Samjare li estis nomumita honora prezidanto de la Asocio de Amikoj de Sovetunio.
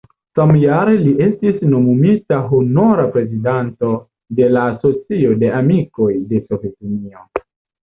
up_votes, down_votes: 2, 0